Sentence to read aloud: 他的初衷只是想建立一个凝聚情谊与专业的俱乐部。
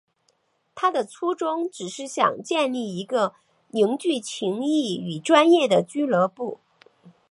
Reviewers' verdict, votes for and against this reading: accepted, 8, 0